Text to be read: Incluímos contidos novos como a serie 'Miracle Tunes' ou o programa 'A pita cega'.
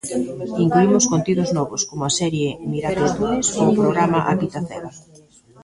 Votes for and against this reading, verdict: 1, 2, rejected